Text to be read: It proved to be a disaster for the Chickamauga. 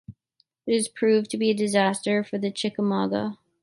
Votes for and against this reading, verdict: 1, 2, rejected